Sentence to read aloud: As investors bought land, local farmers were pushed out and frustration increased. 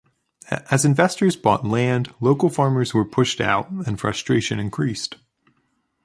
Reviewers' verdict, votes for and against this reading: accepted, 2, 1